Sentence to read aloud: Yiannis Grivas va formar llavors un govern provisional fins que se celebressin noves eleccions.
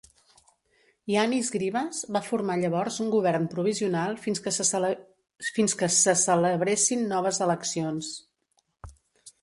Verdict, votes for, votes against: rejected, 0, 3